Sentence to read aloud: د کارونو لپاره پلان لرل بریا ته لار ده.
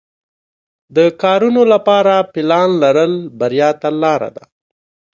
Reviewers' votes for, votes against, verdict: 1, 2, rejected